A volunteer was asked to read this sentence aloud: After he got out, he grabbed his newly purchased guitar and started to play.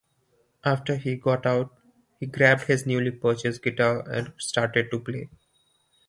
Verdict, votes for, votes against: accepted, 2, 0